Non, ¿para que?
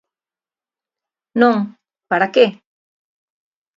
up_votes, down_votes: 2, 0